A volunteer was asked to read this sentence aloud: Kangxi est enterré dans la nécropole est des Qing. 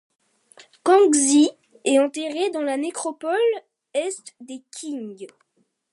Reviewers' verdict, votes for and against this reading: accepted, 2, 1